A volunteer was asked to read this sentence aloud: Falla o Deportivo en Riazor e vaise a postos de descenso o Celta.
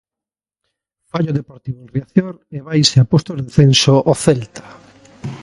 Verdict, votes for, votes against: rejected, 0, 2